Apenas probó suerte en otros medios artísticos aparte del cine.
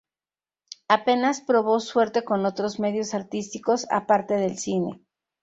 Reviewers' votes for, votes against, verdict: 2, 4, rejected